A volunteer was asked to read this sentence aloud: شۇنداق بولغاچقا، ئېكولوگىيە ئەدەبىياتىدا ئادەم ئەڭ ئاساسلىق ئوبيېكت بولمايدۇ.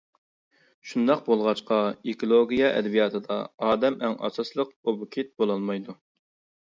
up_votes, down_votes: 0, 2